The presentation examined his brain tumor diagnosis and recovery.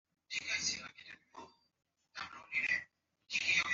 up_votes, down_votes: 0, 2